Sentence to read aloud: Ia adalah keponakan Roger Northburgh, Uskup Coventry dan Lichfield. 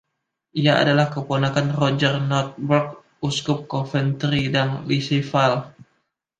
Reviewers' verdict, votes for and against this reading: rejected, 0, 2